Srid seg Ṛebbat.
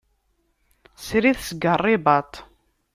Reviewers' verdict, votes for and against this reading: accepted, 2, 0